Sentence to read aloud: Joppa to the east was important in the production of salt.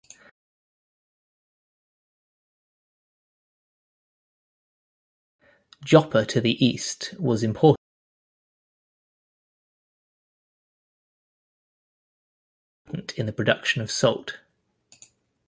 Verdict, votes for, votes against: rejected, 0, 2